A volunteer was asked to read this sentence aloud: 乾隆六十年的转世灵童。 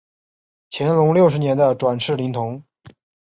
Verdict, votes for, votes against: accepted, 2, 0